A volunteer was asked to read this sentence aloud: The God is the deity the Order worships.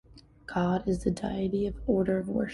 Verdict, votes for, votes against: rejected, 0, 2